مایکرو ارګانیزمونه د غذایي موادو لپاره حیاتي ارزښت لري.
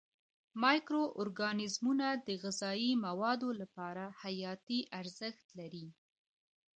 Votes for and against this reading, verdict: 0, 2, rejected